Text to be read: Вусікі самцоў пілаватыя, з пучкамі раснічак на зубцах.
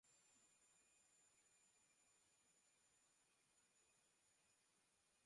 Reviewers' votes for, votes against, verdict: 0, 2, rejected